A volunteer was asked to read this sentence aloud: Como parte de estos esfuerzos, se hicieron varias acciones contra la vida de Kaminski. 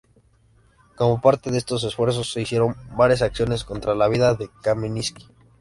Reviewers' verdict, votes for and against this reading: accepted, 2, 0